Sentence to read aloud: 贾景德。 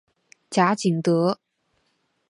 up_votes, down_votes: 2, 0